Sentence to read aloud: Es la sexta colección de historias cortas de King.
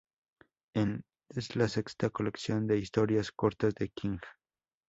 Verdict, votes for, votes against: accepted, 2, 0